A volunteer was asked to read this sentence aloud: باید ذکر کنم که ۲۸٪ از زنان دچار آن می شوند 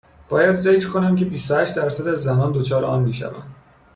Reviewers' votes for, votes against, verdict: 0, 2, rejected